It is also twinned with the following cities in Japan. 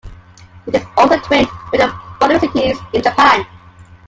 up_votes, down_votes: 1, 2